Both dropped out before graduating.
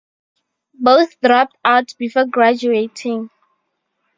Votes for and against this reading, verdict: 2, 0, accepted